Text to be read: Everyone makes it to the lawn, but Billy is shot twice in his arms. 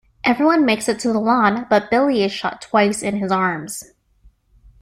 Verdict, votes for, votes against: accepted, 2, 0